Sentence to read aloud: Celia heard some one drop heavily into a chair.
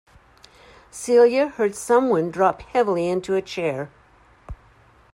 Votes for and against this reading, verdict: 2, 0, accepted